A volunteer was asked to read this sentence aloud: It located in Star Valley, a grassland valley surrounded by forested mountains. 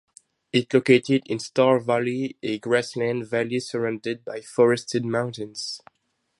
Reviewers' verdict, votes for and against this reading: accepted, 4, 0